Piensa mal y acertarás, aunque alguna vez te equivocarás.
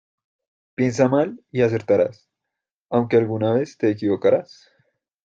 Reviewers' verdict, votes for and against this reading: accepted, 2, 0